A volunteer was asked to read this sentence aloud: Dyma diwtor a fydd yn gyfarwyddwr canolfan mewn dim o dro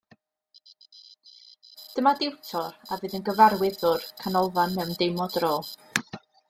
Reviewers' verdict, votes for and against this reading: accepted, 2, 1